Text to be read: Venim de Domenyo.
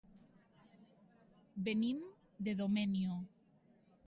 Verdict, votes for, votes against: rejected, 0, 2